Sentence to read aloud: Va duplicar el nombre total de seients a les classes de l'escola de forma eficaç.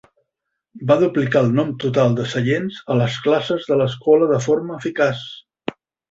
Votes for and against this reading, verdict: 0, 2, rejected